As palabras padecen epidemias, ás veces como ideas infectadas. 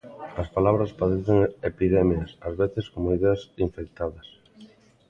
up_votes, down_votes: 2, 1